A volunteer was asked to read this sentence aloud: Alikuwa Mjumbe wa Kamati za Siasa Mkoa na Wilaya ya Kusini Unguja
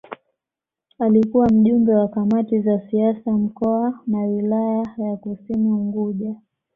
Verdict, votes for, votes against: accepted, 2, 0